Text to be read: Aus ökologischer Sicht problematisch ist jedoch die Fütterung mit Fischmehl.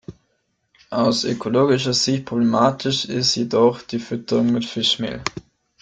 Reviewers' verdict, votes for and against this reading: rejected, 0, 2